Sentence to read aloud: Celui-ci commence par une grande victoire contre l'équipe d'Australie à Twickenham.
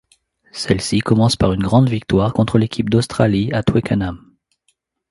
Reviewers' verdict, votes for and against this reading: rejected, 1, 2